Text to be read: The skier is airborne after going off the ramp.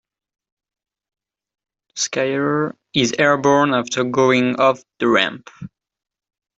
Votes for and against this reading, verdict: 0, 2, rejected